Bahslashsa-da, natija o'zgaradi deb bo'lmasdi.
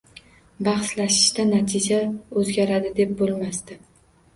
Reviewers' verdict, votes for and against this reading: rejected, 0, 2